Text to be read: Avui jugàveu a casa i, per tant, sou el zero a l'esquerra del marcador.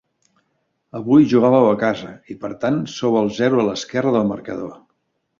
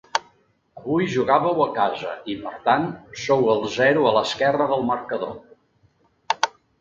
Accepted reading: second